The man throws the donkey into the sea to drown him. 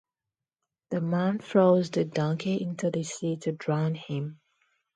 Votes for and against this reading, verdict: 2, 0, accepted